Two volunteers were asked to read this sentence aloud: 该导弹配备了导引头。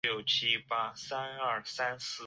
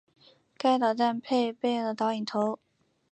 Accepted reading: second